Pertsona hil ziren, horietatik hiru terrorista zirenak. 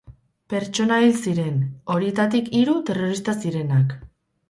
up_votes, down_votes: 4, 0